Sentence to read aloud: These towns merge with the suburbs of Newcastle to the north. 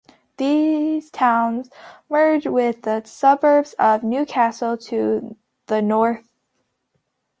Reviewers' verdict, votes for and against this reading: accepted, 2, 0